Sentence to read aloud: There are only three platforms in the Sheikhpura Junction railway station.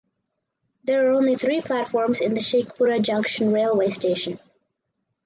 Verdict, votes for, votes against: accepted, 4, 0